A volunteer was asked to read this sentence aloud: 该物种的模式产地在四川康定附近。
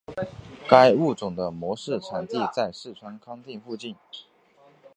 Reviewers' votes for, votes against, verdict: 2, 0, accepted